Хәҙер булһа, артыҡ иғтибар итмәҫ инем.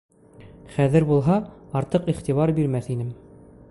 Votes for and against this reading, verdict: 0, 2, rejected